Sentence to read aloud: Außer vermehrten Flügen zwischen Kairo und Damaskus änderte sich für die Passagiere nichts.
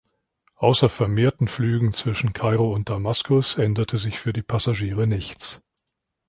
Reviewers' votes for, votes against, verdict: 2, 0, accepted